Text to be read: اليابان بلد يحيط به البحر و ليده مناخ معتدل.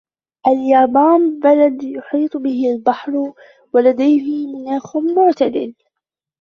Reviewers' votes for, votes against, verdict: 1, 2, rejected